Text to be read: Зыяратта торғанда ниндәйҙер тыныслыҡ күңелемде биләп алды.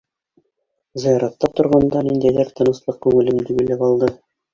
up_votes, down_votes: 0, 2